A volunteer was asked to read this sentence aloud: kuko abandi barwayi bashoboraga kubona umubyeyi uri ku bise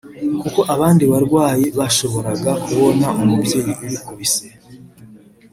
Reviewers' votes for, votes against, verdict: 0, 2, rejected